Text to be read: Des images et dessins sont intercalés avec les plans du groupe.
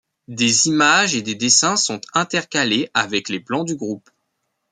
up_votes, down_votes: 1, 2